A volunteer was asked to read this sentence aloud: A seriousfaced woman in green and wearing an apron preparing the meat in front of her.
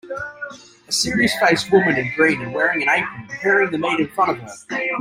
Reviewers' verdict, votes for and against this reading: rejected, 1, 3